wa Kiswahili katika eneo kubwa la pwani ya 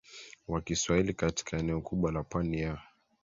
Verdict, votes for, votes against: accepted, 2, 0